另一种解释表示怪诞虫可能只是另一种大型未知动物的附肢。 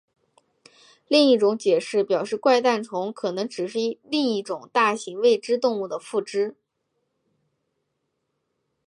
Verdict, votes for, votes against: rejected, 0, 2